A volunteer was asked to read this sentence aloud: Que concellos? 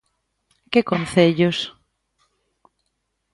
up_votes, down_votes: 2, 0